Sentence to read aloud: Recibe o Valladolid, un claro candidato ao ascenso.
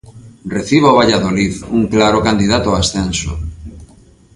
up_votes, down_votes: 1, 2